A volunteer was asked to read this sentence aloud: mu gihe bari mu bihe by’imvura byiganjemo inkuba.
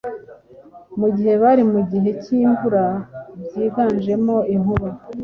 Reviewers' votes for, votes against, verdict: 2, 0, accepted